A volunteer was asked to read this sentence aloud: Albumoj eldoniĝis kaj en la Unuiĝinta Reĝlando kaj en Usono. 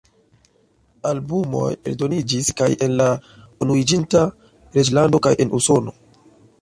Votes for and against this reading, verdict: 2, 0, accepted